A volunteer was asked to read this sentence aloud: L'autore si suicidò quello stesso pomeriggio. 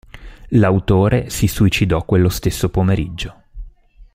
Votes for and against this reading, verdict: 2, 0, accepted